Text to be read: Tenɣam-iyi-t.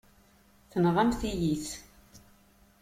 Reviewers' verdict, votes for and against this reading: rejected, 0, 2